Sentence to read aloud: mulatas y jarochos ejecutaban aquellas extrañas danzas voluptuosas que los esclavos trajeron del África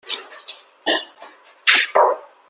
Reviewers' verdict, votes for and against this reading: rejected, 0, 2